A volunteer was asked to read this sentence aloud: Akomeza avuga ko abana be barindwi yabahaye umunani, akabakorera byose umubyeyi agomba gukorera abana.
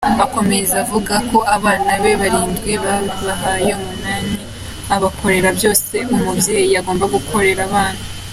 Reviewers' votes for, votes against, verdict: 2, 0, accepted